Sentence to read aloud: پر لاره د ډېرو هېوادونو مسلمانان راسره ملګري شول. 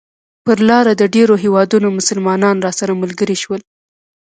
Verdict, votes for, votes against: accepted, 2, 0